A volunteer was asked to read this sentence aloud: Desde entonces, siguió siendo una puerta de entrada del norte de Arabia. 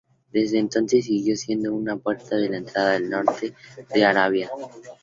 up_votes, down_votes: 0, 2